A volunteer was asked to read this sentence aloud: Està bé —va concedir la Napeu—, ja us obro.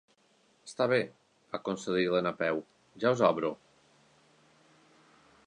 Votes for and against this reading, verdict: 2, 0, accepted